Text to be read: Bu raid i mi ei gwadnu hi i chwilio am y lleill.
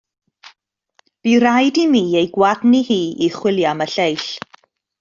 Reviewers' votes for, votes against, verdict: 2, 0, accepted